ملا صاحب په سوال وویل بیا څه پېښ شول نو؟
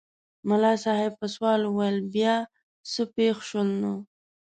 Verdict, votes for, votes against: accepted, 2, 0